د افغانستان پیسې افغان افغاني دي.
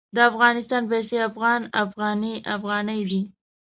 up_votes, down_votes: 1, 2